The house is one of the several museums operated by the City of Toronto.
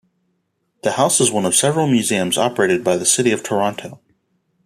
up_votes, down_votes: 2, 0